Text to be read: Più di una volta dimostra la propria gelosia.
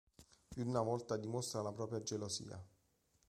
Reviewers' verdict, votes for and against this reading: accepted, 3, 1